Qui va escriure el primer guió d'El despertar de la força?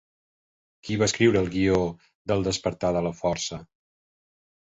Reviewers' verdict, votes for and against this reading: rejected, 0, 3